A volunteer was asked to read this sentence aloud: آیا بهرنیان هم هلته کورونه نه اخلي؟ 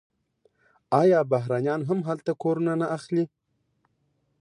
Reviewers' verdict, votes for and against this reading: accepted, 2, 0